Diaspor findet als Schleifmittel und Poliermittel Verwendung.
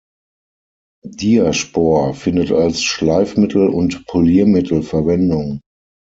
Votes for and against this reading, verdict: 6, 0, accepted